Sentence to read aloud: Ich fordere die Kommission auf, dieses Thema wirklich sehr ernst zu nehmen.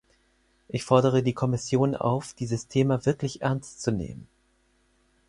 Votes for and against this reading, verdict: 0, 4, rejected